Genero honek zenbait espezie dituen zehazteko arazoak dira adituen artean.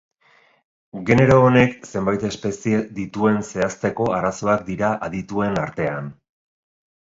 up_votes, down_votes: 3, 0